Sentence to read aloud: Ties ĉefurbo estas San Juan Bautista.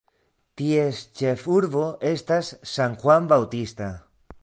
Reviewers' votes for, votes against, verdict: 1, 2, rejected